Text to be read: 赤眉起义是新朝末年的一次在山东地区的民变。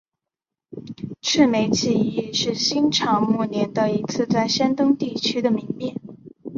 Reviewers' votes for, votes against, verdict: 3, 1, accepted